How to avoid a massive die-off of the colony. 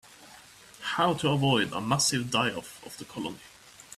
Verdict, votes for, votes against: accepted, 2, 0